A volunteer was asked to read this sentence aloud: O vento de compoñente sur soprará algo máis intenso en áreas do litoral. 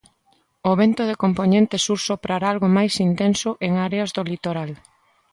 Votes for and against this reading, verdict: 2, 0, accepted